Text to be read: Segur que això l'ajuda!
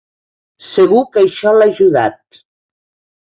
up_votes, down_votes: 1, 2